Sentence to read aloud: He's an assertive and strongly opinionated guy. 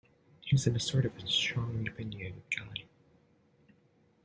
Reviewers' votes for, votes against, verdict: 1, 2, rejected